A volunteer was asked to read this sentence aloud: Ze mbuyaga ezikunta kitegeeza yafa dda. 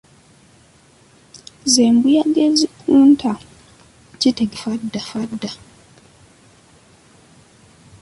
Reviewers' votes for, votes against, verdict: 0, 2, rejected